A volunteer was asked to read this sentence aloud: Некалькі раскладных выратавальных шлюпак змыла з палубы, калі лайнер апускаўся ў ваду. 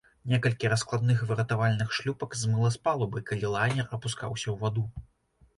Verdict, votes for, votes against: accepted, 2, 0